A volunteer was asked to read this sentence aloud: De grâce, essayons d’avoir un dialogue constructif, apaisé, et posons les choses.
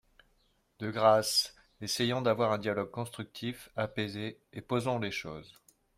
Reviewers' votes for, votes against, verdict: 2, 0, accepted